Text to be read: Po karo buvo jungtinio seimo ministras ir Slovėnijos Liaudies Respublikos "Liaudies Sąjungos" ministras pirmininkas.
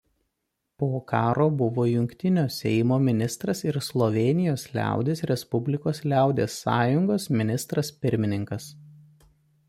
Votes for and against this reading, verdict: 2, 0, accepted